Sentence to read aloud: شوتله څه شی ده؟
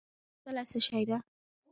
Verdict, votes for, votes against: rejected, 1, 2